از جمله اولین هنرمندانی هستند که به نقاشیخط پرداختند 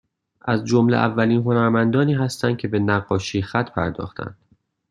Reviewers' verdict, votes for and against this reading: accepted, 2, 0